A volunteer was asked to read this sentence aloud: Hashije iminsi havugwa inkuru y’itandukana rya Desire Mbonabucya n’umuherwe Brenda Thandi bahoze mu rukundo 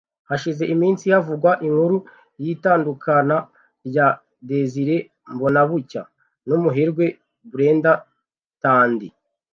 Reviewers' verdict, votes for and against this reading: rejected, 0, 2